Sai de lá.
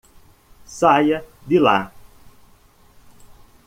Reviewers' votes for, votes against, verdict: 1, 2, rejected